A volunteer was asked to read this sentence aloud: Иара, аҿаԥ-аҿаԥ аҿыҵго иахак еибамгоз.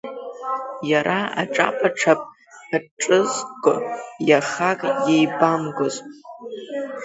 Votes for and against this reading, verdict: 1, 2, rejected